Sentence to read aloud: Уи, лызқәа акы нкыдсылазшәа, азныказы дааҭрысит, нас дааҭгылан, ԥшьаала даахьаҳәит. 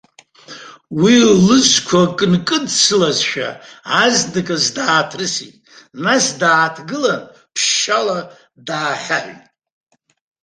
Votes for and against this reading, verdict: 2, 0, accepted